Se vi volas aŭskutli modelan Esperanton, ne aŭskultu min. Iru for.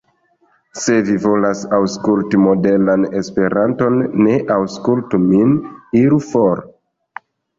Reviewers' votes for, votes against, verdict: 1, 2, rejected